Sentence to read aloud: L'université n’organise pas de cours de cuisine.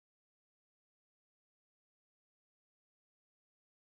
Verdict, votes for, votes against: rejected, 1, 2